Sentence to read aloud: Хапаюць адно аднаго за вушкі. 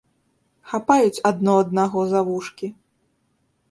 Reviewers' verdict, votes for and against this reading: accepted, 2, 0